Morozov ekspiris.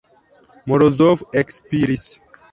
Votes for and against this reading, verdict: 2, 1, accepted